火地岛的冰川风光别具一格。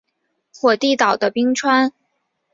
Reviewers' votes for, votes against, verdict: 0, 2, rejected